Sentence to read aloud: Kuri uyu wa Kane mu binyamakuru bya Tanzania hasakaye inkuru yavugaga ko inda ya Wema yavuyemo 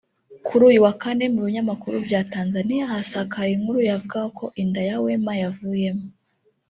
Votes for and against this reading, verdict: 2, 0, accepted